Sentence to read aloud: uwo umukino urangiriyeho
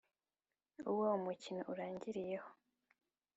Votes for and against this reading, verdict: 2, 0, accepted